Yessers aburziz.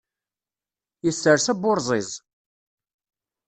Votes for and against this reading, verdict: 1, 2, rejected